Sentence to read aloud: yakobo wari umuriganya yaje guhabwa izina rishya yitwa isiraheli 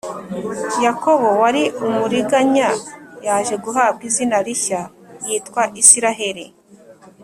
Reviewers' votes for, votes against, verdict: 2, 0, accepted